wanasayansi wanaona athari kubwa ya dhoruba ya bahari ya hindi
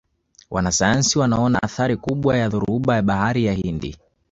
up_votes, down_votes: 2, 0